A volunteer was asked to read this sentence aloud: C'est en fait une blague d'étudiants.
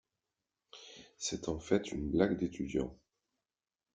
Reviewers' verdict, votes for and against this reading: accepted, 2, 0